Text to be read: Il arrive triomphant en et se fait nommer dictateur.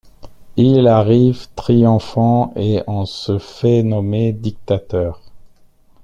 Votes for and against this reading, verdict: 1, 2, rejected